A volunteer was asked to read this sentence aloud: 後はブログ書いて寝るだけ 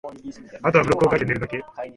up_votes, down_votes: 1, 2